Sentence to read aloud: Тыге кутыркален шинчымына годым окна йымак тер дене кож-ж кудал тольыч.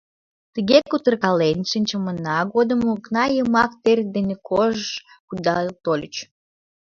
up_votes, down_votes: 2, 0